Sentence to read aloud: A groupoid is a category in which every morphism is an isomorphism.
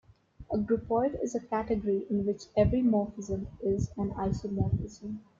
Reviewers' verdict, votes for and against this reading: accepted, 2, 1